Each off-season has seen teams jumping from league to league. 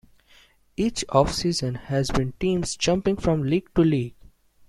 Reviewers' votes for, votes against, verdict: 0, 2, rejected